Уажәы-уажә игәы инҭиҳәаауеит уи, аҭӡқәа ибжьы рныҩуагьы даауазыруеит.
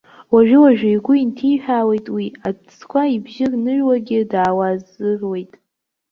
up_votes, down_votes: 0, 2